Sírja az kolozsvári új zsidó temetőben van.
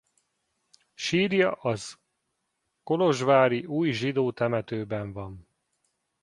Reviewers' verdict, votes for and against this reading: rejected, 1, 2